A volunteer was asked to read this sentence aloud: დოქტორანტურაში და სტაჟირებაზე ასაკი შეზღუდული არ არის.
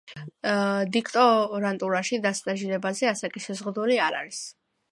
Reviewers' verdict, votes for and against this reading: rejected, 1, 2